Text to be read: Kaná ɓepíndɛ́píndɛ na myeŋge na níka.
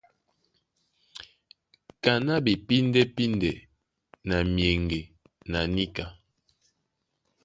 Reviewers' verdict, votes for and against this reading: accepted, 2, 0